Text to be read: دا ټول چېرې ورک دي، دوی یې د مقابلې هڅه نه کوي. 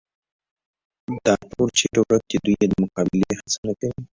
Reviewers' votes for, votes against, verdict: 2, 0, accepted